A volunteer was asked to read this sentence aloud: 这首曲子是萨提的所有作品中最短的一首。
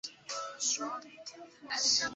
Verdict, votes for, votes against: rejected, 1, 2